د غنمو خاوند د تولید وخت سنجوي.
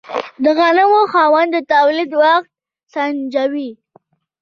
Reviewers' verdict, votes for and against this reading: accepted, 2, 0